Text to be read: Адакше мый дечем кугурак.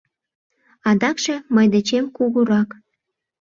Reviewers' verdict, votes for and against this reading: accepted, 2, 0